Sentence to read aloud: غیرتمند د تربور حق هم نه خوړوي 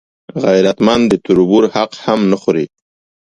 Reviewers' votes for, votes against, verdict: 2, 0, accepted